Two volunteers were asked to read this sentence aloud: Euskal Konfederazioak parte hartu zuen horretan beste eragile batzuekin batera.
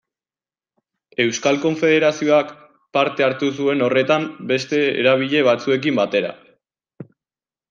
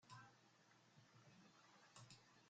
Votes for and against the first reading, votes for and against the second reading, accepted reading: 2, 1, 0, 2, first